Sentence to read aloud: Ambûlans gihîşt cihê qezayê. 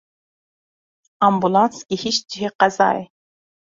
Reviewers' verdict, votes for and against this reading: accepted, 2, 0